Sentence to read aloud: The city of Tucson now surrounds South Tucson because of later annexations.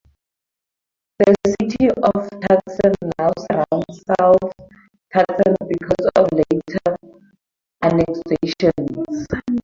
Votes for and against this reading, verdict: 4, 2, accepted